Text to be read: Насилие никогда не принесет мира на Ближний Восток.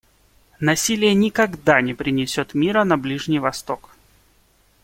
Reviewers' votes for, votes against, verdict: 2, 0, accepted